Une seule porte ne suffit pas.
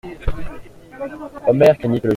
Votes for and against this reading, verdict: 0, 2, rejected